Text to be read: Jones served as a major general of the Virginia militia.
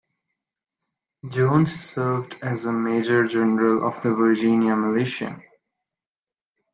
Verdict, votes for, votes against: accepted, 2, 0